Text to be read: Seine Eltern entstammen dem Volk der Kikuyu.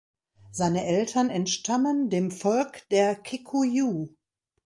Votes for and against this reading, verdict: 2, 0, accepted